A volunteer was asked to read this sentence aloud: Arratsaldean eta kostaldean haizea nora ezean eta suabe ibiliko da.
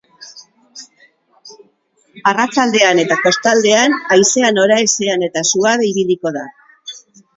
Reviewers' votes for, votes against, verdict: 2, 2, rejected